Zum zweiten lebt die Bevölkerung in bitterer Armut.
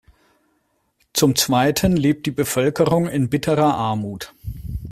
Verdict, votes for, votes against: accepted, 2, 0